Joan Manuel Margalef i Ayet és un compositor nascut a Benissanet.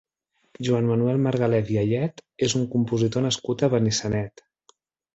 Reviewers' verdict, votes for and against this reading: accepted, 4, 0